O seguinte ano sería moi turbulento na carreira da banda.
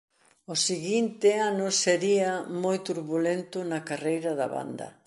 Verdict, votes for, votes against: accepted, 2, 0